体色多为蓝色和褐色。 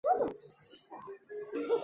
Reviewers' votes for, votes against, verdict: 0, 3, rejected